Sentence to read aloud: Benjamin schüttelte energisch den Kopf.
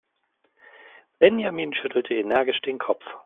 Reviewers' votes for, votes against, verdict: 2, 0, accepted